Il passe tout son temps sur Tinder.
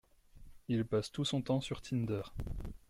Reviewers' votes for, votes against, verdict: 2, 0, accepted